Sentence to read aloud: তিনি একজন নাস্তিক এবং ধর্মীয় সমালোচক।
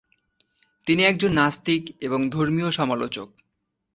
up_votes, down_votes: 8, 1